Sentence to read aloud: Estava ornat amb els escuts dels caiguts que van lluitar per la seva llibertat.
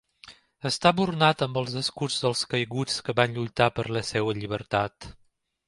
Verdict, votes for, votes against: rejected, 0, 2